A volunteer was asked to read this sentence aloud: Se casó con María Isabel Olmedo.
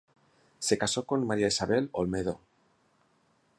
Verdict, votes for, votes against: accepted, 2, 0